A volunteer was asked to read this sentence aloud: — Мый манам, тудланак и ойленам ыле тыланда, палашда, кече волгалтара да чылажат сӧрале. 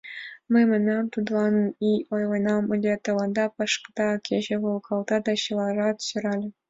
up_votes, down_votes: 1, 2